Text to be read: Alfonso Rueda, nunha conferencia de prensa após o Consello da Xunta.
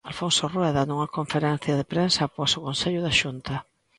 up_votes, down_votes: 2, 0